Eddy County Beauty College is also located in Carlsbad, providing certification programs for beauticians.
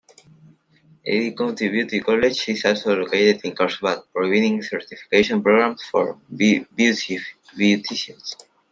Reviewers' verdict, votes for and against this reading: rejected, 1, 2